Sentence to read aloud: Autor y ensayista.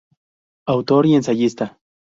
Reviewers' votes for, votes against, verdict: 2, 0, accepted